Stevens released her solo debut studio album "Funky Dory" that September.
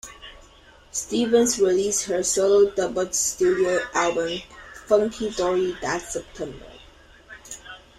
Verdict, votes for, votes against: rejected, 1, 2